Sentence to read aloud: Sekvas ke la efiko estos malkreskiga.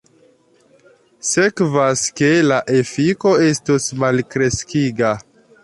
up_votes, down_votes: 2, 0